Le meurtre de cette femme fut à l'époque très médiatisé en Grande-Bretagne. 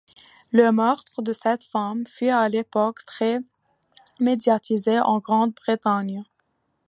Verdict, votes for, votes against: accepted, 2, 0